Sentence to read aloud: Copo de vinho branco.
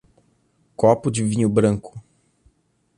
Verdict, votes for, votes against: accepted, 2, 0